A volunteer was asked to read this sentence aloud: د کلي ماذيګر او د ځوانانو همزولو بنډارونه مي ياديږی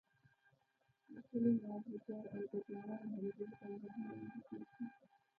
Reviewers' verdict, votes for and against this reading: rejected, 0, 2